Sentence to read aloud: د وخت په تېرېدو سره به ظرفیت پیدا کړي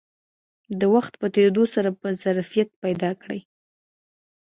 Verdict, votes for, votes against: accepted, 2, 0